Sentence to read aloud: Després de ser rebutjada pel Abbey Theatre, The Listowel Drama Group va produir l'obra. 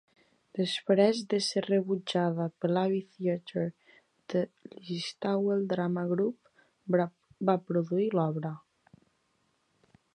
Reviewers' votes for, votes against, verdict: 0, 3, rejected